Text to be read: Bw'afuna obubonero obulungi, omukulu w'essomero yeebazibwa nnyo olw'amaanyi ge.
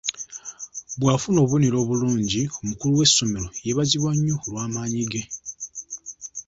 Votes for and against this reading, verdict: 2, 0, accepted